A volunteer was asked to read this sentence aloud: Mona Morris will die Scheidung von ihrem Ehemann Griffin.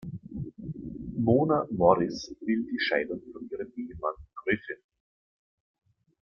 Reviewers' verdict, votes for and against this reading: rejected, 0, 2